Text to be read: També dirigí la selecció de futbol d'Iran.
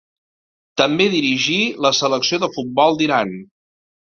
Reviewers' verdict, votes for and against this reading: accepted, 2, 0